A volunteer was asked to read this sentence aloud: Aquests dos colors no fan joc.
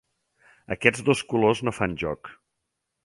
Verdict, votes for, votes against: accepted, 3, 0